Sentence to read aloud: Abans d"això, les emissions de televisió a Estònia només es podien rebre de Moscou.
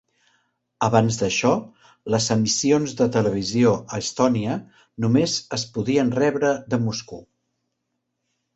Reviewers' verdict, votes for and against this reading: accepted, 2, 0